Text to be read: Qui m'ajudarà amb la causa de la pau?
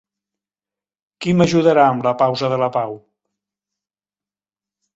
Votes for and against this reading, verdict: 2, 3, rejected